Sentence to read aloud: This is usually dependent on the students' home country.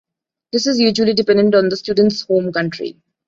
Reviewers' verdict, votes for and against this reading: accepted, 2, 0